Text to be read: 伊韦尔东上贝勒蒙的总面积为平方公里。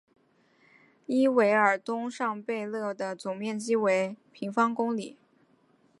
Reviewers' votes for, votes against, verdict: 2, 1, accepted